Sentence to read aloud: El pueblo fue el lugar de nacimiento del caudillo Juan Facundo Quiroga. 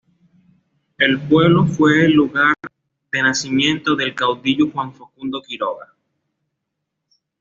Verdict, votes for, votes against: accepted, 2, 0